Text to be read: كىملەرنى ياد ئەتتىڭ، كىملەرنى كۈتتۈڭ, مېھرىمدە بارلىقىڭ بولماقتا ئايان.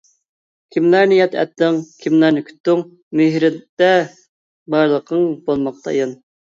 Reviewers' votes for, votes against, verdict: 0, 2, rejected